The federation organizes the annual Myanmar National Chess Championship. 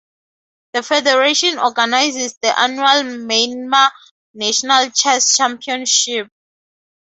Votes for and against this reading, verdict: 2, 2, rejected